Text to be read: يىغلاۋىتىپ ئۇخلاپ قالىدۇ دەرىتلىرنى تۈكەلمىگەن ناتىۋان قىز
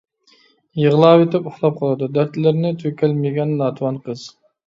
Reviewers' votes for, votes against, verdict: 0, 2, rejected